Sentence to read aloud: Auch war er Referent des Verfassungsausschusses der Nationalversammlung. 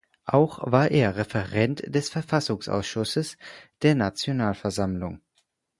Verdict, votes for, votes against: accepted, 4, 0